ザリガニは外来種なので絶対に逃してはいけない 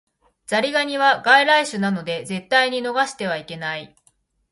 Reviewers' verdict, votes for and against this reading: accepted, 2, 1